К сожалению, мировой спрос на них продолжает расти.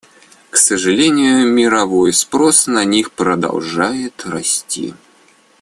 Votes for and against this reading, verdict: 2, 0, accepted